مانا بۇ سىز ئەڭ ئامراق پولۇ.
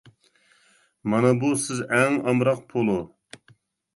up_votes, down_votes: 2, 0